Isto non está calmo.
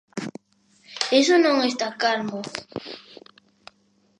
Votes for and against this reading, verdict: 0, 2, rejected